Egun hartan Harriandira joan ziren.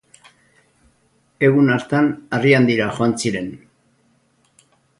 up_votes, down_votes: 2, 2